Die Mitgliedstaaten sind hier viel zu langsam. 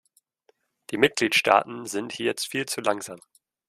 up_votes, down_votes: 1, 2